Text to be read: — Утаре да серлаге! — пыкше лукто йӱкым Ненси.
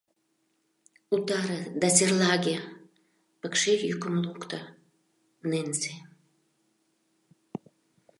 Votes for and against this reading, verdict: 0, 2, rejected